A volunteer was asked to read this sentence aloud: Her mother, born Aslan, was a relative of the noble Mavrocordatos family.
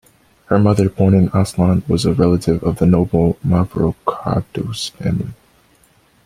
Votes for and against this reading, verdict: 1, 2, rejected